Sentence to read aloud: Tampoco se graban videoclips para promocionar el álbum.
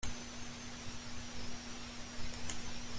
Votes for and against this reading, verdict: 0, 2, rejected